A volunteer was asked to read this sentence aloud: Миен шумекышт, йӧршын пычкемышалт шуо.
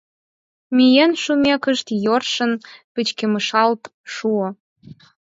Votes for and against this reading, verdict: 0, 4, rejected